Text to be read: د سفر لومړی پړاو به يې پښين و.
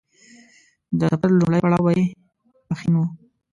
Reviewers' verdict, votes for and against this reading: rejected, 1, 2